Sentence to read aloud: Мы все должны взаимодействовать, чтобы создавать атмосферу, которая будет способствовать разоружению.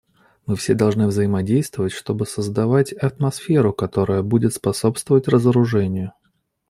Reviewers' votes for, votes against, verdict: 0, 2, rejected